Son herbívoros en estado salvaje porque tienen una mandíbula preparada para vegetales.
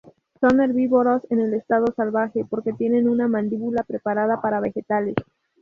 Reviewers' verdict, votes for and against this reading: accepted, 2, 0